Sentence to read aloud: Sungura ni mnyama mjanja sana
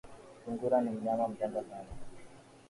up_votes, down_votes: 2, 0